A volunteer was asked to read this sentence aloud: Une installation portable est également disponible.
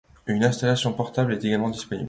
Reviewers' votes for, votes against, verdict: 2, 0, accepted